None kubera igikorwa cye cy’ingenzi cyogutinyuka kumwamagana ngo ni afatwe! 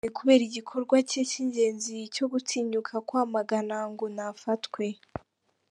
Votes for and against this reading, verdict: 4, 1, accepted